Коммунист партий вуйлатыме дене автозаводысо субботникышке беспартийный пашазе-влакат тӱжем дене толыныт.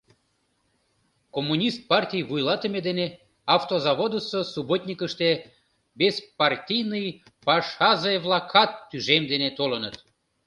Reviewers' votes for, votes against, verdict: 0, 2, rejected